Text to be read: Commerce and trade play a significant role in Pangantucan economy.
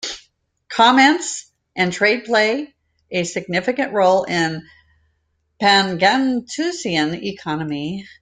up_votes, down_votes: 0, 2